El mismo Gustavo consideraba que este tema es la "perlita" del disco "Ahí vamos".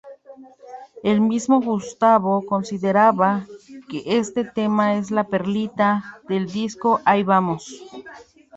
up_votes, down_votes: 1, 2